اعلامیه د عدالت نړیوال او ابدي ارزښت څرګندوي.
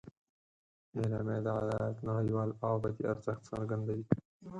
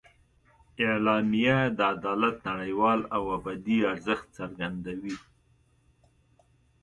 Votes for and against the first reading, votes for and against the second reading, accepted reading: 0, 4, 2, 0, second